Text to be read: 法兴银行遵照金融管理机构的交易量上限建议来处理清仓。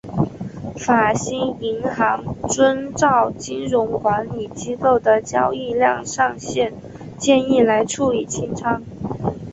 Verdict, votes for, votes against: accepted, 7, 1